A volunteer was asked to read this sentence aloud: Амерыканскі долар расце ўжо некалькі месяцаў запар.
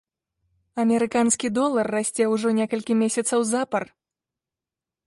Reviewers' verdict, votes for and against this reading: accepted, 2, 0